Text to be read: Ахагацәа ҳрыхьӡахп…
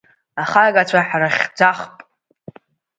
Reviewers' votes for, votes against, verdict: 2, 0, accepted